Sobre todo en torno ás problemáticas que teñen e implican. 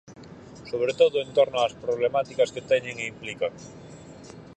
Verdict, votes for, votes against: accepted, 4, 0